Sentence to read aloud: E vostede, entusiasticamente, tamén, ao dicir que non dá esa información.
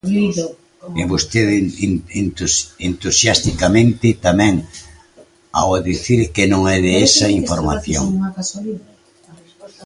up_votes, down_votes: 0, 2